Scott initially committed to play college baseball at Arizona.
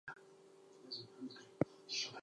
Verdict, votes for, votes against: accepted, 4, 0